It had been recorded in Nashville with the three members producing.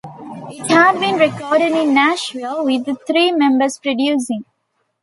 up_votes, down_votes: 2, 0